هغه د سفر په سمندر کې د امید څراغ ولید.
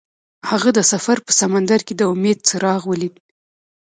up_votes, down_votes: 2, 0